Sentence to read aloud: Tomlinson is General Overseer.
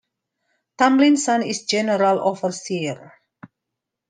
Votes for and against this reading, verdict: 2, 0, accepted